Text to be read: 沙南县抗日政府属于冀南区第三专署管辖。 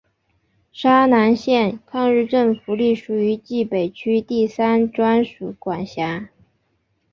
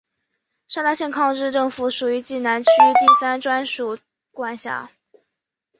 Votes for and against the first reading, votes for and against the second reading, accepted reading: 0, 2, 2, 0, second